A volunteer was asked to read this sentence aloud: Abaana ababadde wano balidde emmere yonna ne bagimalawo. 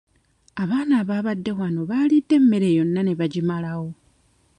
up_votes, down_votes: 1, 2